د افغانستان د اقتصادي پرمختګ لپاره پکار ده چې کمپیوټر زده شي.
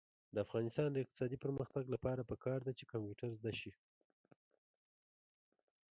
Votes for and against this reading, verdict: 3, 1, accepted